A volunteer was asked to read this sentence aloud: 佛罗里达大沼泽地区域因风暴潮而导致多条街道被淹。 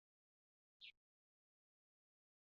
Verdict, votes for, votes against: rejected, 1, 2